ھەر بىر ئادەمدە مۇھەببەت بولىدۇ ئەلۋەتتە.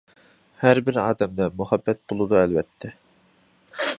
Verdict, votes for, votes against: accepted, 2, 0